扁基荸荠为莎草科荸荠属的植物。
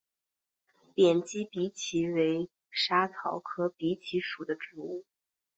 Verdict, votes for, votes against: accepted, 3, 0